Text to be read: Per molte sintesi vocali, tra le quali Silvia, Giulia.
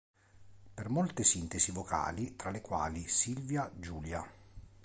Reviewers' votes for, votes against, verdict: 2, 0, accepted